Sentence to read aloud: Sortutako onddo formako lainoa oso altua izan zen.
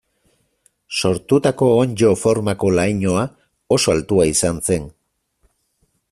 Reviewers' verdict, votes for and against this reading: accepted, 4, 0